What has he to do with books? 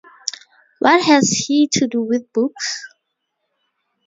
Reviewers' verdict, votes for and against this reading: accepted, 2, 0